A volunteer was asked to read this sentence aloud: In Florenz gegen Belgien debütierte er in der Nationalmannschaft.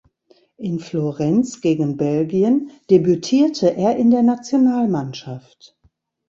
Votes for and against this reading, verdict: 2, 0, accepted